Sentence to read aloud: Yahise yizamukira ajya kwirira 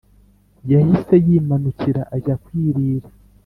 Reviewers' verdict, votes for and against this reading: rejected, 2, 3